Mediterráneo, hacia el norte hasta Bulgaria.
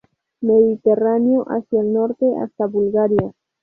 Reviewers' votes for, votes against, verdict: 0, 2, rejected